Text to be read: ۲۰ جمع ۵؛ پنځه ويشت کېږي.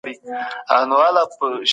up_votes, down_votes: 0, 2